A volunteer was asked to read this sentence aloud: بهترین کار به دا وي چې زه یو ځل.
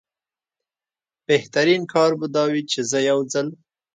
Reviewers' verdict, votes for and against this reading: accepted, 2, 0